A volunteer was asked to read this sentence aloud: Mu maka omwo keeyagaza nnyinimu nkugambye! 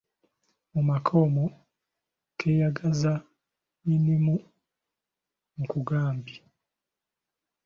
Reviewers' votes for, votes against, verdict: 0, 2, rejected